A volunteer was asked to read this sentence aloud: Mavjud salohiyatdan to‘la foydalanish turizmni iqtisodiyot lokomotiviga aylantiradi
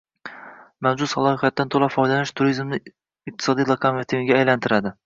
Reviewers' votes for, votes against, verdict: 1, 2, rejected